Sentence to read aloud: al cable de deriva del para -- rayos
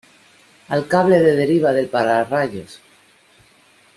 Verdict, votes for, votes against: accepted, 2, 0